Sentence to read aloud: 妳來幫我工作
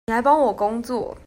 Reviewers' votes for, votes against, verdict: 0, 2, rejected